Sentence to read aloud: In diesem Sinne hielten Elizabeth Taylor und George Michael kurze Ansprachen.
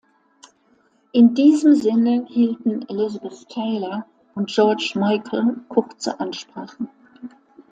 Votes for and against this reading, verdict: 2, 0, accepted